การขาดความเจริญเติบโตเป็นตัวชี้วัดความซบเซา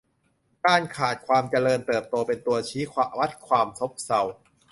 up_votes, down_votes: 0, 2